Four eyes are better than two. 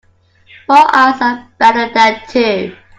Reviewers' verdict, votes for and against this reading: rejected, 1, 2